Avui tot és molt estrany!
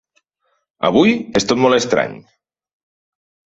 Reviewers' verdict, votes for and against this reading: rejected, 0, 2